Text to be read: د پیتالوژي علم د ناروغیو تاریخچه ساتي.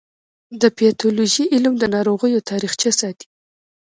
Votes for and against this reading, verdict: 2, 1, accepted